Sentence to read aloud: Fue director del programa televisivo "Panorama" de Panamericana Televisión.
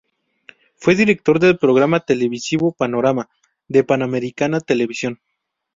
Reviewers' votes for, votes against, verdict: 2, 0, accepted